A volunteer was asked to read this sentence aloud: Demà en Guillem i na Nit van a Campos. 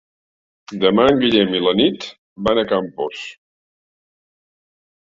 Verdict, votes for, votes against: accepted, 2, 0